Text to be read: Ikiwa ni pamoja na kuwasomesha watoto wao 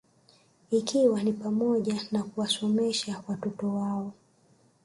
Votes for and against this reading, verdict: 2, 1, accepted